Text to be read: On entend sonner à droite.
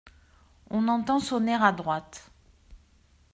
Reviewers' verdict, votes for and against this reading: accepted, 2, 1